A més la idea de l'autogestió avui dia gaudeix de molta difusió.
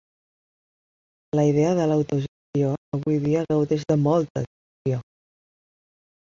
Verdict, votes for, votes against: rejected, 2, 4